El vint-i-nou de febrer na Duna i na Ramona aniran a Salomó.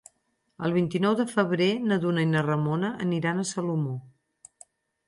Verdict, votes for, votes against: accepted, 6, 0